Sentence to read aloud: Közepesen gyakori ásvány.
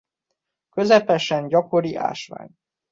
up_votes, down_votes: 2, 0